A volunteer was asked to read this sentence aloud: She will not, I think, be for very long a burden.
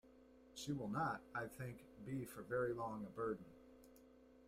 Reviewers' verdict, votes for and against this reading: rejected, 1, 2